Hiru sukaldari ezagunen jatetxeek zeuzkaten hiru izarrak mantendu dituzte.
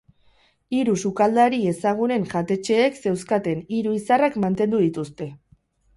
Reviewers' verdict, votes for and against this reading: accepted, 4, 0